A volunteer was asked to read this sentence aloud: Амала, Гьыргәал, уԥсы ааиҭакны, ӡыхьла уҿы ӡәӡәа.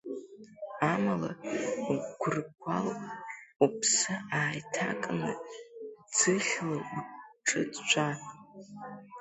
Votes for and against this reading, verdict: 2, 0, accepted